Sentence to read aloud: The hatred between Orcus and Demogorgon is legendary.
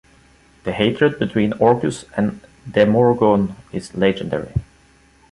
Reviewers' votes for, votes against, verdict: 1, 2, rejected